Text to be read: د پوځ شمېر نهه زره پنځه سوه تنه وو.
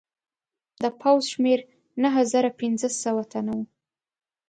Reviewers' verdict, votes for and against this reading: accepted, 2, 0